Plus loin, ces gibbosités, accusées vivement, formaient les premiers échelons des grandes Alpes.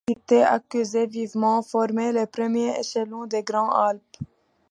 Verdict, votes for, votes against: rejected, 0, 2